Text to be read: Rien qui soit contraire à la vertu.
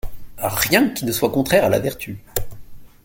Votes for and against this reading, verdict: 1, 2, rejected